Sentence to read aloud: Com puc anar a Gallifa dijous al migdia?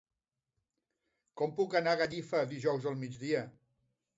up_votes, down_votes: 2, 0